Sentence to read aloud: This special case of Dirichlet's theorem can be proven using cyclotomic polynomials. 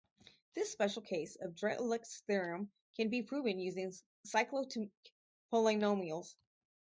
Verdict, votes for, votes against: rejected, 0, 4